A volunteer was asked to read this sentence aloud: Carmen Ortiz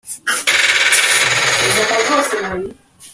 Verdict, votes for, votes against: rejected, 0, 2